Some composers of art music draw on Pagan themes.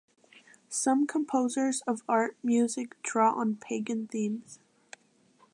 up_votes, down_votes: 3, 0